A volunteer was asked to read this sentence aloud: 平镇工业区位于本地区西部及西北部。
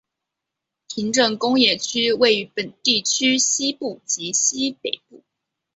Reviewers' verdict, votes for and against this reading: rejected, 0, 2